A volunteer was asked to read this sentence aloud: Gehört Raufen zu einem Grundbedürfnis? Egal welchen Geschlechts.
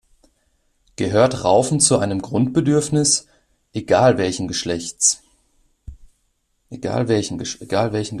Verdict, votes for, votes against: rejected, 0, 2